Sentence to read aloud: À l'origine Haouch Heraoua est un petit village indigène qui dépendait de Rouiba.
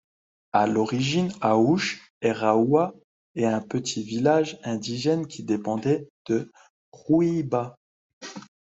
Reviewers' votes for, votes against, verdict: 2, 0, accepted